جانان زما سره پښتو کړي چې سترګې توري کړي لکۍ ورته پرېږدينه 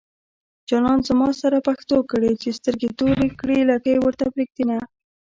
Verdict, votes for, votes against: rejected, 1, 2